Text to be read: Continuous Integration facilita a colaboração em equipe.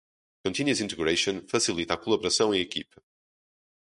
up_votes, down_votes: 0, 2